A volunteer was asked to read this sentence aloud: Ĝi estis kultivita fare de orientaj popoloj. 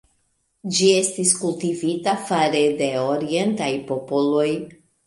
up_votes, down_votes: 2, 1